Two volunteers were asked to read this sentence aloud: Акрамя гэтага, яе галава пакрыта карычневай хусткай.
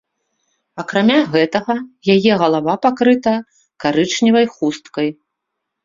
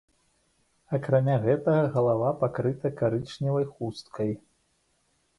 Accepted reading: first